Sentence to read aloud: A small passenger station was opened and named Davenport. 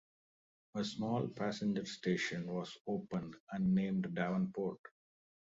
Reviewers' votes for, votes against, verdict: 2, 0, accepted